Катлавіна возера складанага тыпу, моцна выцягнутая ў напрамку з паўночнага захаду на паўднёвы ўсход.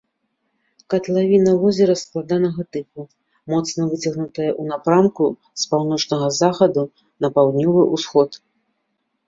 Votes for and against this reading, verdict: 2, 0, accepted